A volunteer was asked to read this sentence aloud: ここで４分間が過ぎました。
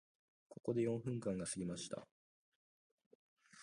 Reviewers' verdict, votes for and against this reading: rejected, 0, 2